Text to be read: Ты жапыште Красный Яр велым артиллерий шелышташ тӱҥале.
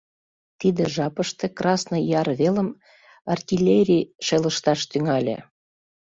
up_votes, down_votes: 0, 2